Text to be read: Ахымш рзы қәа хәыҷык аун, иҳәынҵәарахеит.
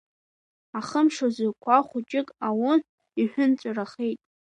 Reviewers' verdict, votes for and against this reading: accepted, 2, 0